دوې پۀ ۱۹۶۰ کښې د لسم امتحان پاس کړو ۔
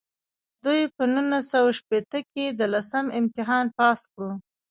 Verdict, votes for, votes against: rejected, 0, 2